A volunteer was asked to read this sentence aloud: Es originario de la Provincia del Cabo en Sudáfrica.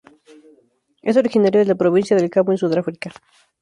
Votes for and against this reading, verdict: 2, 0, accepted